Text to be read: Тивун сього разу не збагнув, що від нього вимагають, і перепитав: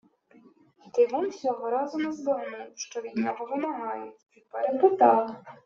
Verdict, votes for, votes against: rejected, 1, 2